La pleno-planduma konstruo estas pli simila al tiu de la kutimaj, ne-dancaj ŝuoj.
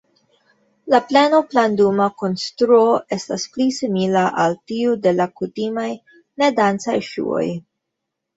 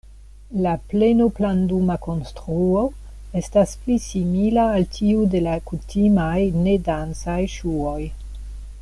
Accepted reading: second